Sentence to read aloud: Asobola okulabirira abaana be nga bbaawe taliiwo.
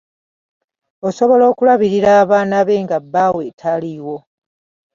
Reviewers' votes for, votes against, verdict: 1, 2, rejected